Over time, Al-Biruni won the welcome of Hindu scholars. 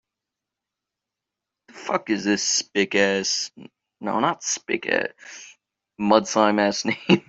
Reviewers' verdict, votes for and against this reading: rejected, 0, 2